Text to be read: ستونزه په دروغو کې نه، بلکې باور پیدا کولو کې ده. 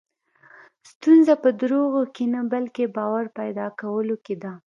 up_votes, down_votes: 2, 0